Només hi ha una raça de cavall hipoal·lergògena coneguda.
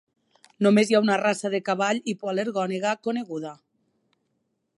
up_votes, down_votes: 1, 4